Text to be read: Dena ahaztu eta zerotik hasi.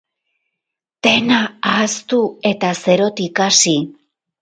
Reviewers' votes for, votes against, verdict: 2, 2, rejected